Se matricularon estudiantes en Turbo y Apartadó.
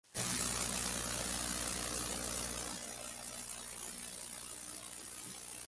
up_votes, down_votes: 0, 2